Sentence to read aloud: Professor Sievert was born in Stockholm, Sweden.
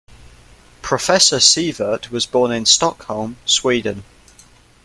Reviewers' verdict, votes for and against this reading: accepted, 2, 0